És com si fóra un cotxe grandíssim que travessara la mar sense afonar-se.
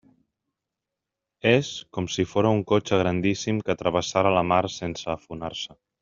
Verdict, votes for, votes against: accepted, 3, 0